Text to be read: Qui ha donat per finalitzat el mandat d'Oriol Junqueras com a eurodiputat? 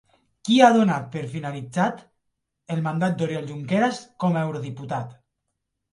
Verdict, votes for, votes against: rejected, 0, 2